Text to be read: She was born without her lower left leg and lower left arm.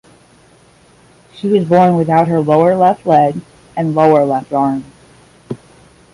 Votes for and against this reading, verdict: 10, 0, accepted